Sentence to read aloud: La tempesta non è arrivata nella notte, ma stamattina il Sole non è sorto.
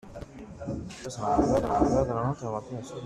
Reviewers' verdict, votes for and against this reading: rejected, 0, 2